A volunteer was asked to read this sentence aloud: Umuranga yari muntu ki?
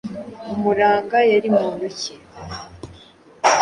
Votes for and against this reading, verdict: 2, 0, accepted